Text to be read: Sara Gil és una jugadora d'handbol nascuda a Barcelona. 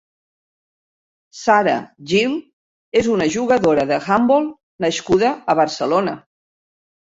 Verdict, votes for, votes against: rejected, 0, 2